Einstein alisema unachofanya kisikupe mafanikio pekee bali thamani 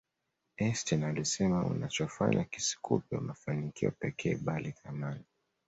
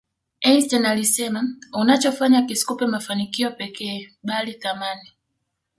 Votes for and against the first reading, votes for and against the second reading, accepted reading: 2, 0, 1, 2, first